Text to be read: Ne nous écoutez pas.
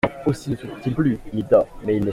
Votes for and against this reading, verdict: 0, 3, rejected